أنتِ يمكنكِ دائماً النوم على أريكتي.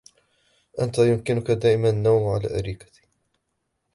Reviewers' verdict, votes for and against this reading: rejected, 1, 2